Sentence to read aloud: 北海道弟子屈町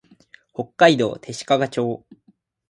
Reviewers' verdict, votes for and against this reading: accepted, 4, 0